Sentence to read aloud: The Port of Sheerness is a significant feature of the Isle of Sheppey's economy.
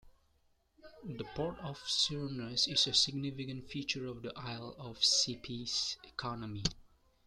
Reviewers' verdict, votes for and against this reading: accepted, 2, 1